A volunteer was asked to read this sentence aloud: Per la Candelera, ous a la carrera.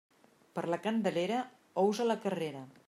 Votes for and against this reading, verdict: 2, 0, accepted